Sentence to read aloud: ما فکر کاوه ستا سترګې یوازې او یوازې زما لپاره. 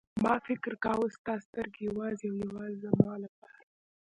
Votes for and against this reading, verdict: 1, 2, rejected